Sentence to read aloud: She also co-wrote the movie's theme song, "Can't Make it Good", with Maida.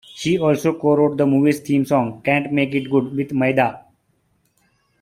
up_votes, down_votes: 3, 0